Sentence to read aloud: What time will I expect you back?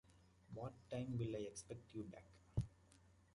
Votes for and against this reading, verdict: 2, 1, accepted